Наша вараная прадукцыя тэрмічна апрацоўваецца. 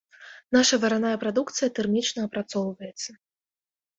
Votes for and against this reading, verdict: 1, 2, rejected